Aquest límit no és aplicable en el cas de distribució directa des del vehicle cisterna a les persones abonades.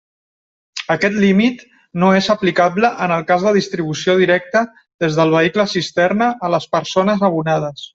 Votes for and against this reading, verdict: 2, 0, accepted